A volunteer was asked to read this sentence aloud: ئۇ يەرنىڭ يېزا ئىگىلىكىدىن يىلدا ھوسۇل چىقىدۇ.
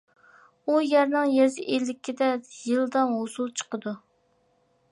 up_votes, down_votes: 0, 2